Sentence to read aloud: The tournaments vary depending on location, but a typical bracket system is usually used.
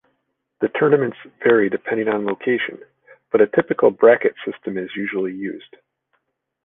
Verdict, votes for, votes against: accepted, 2, 0